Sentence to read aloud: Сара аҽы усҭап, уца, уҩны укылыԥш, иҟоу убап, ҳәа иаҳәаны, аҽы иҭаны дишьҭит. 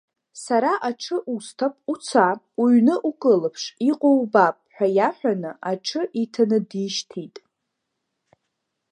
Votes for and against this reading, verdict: 1, 2, rejected